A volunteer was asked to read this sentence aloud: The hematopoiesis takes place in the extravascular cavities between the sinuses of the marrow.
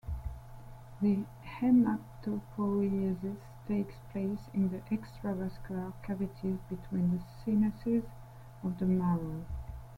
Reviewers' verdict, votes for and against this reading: rejected, 1, 2